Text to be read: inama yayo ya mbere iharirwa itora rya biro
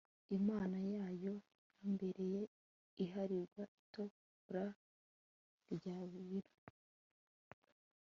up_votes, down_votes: 1, 2